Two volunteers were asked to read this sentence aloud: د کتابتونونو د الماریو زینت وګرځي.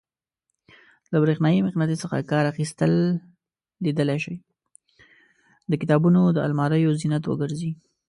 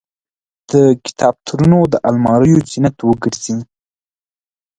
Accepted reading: second